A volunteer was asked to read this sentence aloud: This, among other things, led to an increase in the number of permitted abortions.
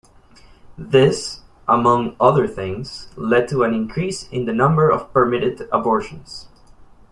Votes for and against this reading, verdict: 3, 0, accepted